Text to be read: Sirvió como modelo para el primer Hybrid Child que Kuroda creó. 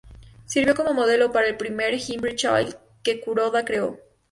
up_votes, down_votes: 0, 2